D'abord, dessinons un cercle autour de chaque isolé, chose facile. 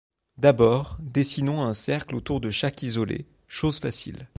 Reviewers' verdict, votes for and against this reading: accepted, 2, 0